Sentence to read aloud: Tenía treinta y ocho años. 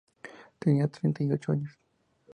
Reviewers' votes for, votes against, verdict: 2, 0, accepted